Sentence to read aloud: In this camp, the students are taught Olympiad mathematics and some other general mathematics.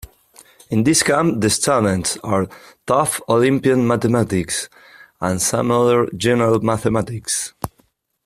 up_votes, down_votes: 3, 2